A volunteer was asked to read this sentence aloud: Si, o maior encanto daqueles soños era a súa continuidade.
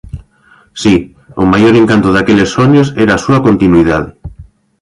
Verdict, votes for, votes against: rejected, 0, 2